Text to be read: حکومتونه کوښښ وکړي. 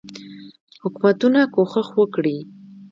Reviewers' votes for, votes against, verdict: 2, 1, accepted